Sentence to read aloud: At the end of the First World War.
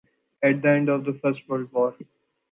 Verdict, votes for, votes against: accepted, 2, 0